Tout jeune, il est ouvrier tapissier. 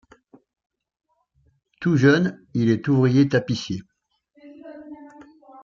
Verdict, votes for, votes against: accepted, 2, 0